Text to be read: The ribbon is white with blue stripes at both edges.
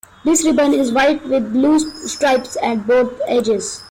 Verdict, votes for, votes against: rejected, 0, 2